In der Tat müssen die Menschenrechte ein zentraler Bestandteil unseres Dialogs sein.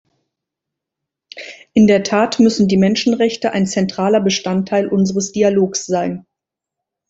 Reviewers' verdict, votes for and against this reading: accepted, 2, 0